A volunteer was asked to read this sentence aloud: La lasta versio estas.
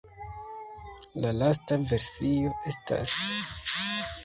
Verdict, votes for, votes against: rejected, 1, 2